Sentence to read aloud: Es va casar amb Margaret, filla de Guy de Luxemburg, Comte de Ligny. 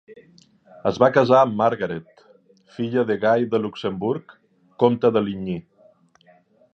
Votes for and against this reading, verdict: 2, 0, accepted